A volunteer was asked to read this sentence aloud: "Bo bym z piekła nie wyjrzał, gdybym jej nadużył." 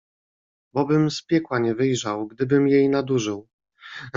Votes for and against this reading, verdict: 0, 2, rejected